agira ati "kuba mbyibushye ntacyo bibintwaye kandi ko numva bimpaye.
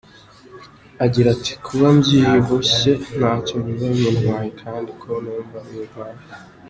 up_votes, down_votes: 2, 0